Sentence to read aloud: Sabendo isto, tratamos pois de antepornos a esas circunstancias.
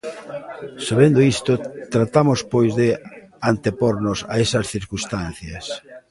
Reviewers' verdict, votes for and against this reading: rejected, 1, 2